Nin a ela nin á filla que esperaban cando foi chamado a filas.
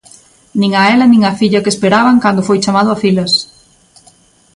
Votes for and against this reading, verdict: 2, 0, accepted